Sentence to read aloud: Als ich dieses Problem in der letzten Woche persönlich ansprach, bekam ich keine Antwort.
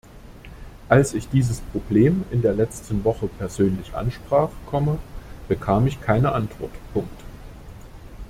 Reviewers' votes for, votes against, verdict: 0, 2, rejected